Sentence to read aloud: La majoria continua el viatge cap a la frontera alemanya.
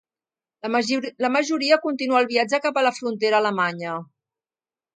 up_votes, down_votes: 2, 3